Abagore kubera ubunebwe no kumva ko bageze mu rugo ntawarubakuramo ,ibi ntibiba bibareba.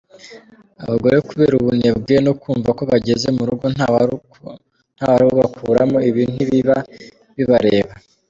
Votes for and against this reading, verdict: 0, 2, rejected